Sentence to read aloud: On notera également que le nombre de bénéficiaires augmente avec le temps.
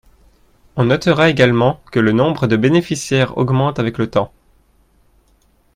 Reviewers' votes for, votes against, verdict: 2, 0, accepted